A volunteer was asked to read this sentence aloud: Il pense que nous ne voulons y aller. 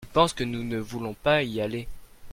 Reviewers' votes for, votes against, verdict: 1, 2, rejected